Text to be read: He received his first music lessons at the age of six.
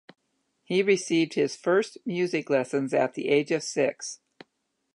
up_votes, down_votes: 4, 0